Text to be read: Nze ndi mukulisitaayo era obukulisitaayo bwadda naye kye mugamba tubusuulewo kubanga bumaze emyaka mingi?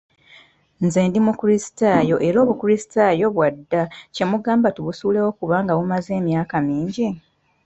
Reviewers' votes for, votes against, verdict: 2, 0, accepted